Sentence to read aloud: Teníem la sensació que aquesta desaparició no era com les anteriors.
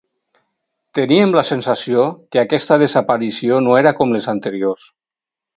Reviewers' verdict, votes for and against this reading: accepted, 4, 0